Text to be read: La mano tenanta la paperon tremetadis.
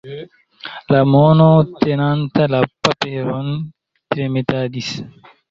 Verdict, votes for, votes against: rejected, 0, 2